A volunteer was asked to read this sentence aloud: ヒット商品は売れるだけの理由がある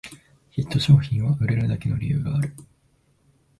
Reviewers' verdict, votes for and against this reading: rejected, 1, 2